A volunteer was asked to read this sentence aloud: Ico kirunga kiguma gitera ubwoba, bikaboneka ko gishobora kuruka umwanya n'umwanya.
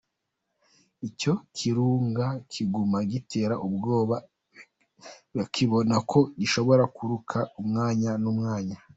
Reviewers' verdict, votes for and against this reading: rejected, 1, 2